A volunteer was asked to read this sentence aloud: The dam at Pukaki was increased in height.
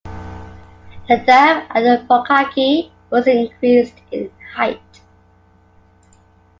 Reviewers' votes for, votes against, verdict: 2, 0, accepted